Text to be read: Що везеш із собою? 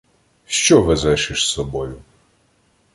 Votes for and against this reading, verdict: 1, 2, rejected